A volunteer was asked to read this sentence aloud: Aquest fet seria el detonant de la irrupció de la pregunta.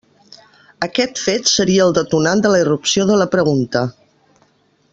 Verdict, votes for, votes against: rejected, 1, 2